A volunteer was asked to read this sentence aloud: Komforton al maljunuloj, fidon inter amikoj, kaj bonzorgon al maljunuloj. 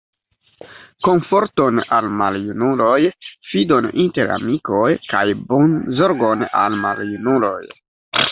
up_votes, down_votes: 2, 0